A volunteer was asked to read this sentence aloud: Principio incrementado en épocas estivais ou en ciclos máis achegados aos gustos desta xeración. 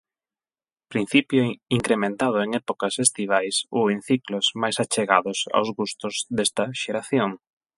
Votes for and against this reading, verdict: 8, 4, accepted